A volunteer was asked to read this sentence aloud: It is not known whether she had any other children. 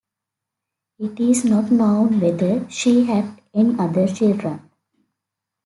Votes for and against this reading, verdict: 2, 0, accepted